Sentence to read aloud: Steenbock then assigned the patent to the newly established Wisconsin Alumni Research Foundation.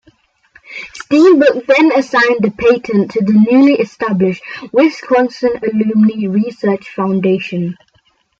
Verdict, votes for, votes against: rejected, 0, 2